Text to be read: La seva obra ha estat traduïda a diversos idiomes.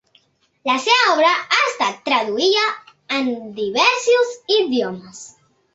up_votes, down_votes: 1, 2